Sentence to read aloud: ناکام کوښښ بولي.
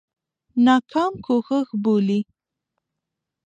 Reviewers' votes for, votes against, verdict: 2, 0, accepted